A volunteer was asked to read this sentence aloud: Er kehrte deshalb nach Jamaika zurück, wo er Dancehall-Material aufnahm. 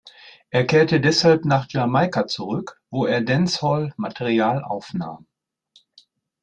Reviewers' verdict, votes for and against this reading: rejected, 0, 2